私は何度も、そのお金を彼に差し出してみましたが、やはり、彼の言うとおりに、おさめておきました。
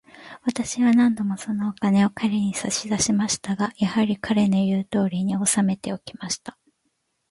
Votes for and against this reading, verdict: 1, 3, rejected